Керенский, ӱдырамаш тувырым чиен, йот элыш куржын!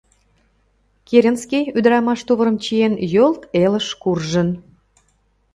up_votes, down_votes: 0, 2